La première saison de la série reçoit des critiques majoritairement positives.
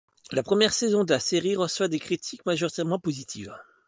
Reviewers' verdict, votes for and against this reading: rejected, 1, 2